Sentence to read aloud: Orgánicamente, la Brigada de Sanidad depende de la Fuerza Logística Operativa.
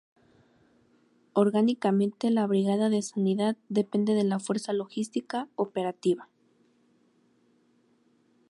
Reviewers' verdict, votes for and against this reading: rejected, 0, 2